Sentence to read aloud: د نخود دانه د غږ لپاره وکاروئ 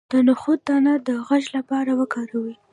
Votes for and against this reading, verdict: 1, 2, rejected